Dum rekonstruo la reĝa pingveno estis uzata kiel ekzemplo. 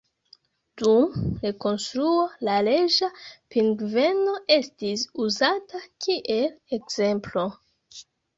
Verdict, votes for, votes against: accepted, 2, 0